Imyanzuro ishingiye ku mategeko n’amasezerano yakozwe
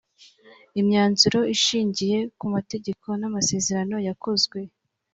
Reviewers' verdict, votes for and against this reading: accepted, 3, 0